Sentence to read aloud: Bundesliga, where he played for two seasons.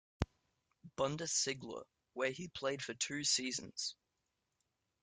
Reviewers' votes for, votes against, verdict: 2, 0, accepted